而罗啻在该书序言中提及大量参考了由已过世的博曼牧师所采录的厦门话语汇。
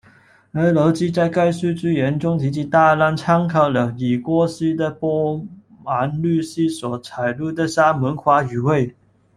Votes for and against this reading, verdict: 0, 2, rejected